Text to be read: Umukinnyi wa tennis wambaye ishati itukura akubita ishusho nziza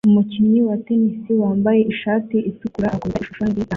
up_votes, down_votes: 0, 2